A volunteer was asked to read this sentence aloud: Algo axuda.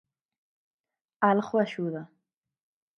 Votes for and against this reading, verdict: 2, 4, rejected